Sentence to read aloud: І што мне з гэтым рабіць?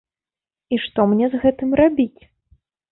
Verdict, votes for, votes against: accepted, 2, 0